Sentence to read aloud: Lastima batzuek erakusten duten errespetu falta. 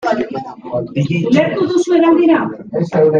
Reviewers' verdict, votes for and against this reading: rejected, 0, 2